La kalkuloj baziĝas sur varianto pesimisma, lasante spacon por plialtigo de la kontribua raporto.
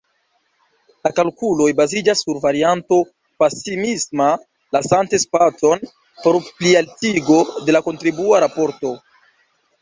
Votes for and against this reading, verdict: 1, 2, rejected